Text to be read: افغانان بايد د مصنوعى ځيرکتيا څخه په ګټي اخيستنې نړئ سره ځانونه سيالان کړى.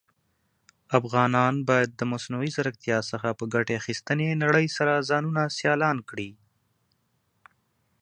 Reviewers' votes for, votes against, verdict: 2, 0, accepted